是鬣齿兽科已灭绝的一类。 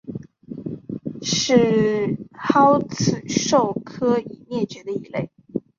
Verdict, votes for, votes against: rejected, 0, 4